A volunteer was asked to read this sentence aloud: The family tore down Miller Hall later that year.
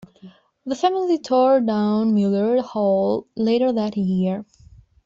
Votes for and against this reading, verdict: 2, 1, accepted